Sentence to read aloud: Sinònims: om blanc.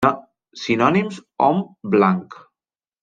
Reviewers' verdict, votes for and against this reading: rejected, 0, 2